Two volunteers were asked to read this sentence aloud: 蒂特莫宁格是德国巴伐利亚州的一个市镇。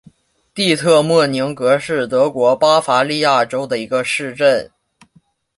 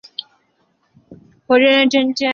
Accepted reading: first